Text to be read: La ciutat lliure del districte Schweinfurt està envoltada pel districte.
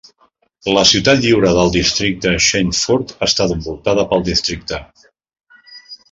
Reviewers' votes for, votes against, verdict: 0, 2, rejected